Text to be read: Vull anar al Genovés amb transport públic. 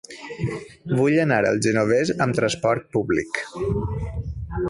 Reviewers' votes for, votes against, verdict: 2, 0, accepted